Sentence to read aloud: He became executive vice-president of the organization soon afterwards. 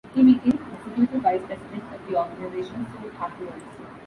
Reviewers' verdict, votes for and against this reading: rejected, 0, 2